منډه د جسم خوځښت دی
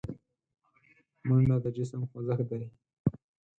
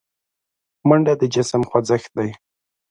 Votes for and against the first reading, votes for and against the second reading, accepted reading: 2, 4, 2, 0, second